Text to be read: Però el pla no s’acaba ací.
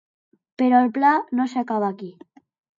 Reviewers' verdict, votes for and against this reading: rejected, 0, 2